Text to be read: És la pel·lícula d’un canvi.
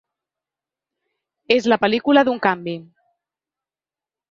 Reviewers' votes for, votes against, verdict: 2, 0, accepted